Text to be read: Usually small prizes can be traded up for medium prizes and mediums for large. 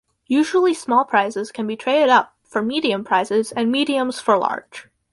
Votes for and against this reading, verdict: 4, 0, accepted